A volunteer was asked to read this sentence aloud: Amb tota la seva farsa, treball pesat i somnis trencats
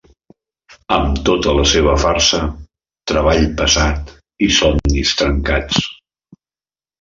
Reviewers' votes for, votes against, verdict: 2, 0, accepted